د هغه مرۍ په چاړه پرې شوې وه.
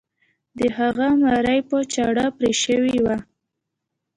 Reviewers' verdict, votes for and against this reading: accepted, 2, 0